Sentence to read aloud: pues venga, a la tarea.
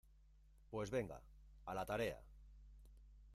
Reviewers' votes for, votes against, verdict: 0, 2, rejected